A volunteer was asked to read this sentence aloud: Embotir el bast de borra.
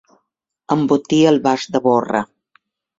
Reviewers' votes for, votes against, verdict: 2, 0, accepted